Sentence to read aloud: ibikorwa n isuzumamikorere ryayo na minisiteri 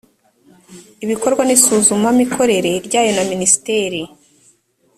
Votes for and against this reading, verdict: 2, 0, accepted